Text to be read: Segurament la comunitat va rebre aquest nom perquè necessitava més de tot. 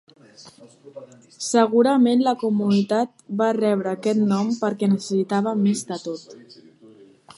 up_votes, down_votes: 4, 1